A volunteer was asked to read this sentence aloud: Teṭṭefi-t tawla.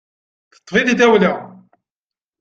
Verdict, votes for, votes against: rejected, 0, 2